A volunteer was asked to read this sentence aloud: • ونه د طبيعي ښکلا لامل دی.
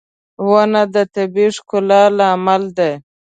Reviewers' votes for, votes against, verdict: 2, 0, accepted